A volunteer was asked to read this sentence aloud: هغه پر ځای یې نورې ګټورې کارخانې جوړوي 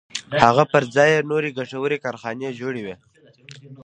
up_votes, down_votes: 2, 0